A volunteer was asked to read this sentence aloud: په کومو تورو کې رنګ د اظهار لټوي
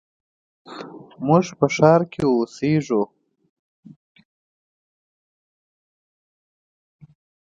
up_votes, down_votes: 0, 2